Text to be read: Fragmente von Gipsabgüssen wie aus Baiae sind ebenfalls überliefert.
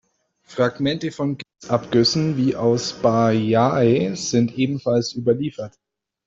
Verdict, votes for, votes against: rejected, 1, 2